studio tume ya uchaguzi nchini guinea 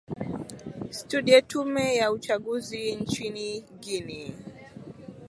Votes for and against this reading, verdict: 0, 2, rejected